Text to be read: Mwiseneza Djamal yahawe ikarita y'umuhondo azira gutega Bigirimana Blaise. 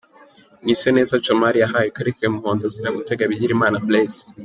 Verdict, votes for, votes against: accepted, 2, 1